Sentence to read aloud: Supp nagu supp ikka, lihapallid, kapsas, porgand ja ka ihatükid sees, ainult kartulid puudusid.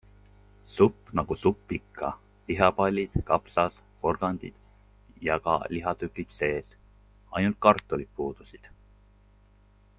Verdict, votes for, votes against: accepted, 2, 1